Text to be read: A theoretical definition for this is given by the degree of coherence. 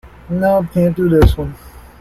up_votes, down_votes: 0, 2